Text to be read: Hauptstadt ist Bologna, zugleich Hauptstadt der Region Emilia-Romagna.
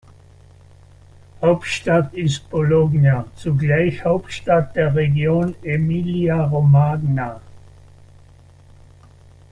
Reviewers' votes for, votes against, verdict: 0, 2, rejected